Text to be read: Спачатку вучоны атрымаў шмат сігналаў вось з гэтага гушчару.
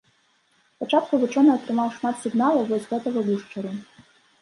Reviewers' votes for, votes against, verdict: 0, 2, rejected